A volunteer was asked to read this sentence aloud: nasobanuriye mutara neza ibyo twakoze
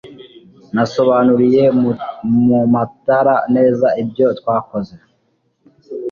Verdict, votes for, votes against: rejected, 2, 3